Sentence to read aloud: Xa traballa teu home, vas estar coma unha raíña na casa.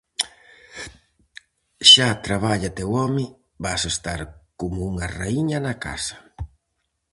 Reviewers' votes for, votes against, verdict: 2, 2, rejected